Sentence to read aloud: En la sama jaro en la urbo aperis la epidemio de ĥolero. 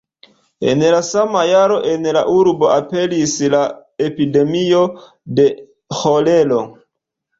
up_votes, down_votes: 2, 0